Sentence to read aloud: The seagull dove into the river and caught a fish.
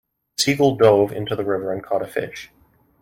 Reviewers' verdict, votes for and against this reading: accepted, 2, 0